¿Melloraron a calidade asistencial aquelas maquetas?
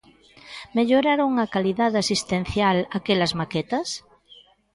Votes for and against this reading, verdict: 1, 2, rejected